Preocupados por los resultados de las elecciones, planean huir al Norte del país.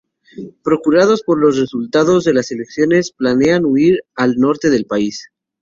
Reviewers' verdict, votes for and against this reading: accepted, 2, 0